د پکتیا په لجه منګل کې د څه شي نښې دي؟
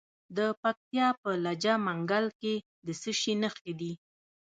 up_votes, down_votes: 0, 2